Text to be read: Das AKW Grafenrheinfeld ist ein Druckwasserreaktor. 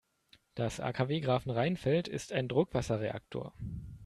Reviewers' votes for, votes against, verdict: 2, 0, accepted